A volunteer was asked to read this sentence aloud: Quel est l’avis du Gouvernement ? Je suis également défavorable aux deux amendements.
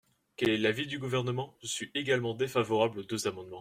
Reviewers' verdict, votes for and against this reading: accepted, 2, 0